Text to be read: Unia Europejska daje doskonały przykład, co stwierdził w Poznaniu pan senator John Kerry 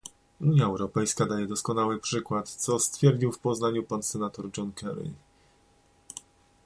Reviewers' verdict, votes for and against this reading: accepted, 2, 0